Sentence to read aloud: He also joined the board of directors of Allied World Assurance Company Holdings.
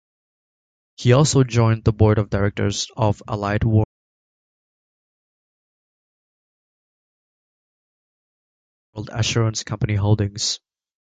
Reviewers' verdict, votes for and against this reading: rejected, 1, 3